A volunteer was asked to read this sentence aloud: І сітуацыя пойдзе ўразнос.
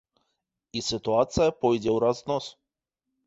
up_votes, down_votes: 0, 2